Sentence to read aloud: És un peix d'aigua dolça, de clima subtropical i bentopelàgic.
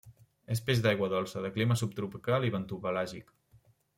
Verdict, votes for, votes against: accepted, 2, 1